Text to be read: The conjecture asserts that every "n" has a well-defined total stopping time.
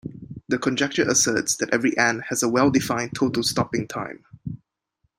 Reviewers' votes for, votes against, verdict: 2, 0, accepted